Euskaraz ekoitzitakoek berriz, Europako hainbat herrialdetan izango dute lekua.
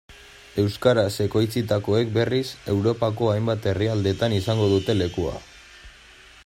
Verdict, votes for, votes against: accepted, 2, 0